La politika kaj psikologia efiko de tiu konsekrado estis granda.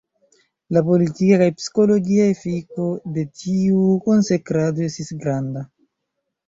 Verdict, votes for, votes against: rejected, 1, 3